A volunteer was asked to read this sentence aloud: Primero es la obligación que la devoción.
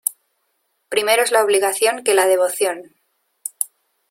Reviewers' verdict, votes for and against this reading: accepted, 2, 0